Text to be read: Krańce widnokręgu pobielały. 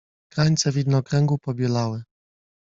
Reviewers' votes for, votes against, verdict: 2, 0, accepted